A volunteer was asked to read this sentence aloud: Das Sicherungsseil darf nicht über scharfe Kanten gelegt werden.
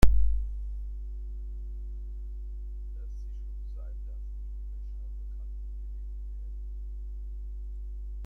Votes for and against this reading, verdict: 0, 2, rejected